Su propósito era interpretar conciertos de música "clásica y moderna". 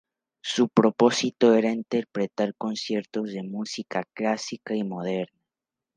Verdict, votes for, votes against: rejected, 0, 4